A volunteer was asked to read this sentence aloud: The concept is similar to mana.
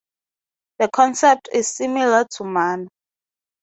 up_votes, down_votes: 0, 2